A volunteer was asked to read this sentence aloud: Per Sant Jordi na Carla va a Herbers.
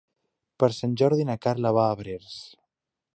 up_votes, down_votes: 1, 2